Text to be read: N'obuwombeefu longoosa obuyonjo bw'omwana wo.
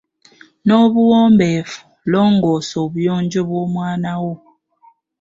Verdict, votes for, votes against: accepted, 2, 1